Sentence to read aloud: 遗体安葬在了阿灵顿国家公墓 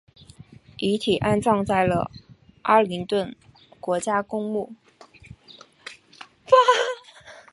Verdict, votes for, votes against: accepted, 3, 0